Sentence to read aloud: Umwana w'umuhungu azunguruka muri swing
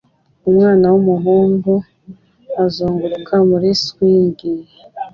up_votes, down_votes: 2, 0